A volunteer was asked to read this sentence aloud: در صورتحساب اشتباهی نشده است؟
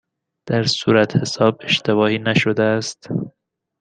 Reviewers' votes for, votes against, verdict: 2, 0, accepted